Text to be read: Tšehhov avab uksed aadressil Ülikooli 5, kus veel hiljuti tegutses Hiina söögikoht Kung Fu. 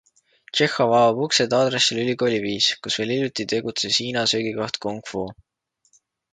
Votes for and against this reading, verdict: 0, 2, rejected